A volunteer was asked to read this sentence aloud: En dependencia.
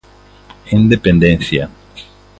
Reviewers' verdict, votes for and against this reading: accepted, 2, 0